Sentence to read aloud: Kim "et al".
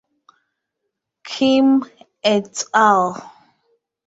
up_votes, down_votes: 2, 0